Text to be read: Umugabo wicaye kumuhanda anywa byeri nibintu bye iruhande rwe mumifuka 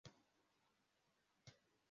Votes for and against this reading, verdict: 0, 2, rejected